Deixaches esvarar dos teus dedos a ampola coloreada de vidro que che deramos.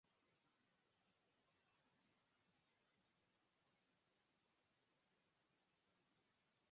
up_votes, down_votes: 0, 4